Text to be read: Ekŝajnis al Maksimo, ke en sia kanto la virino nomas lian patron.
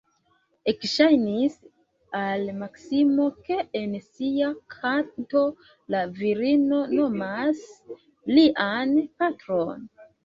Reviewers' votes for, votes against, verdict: 2, 1, accepted